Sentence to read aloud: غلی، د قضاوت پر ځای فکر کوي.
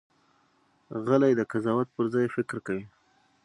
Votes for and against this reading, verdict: 6, 0, accepted